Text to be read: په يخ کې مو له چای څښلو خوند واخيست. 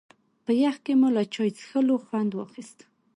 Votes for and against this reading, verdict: 2, 0, accepted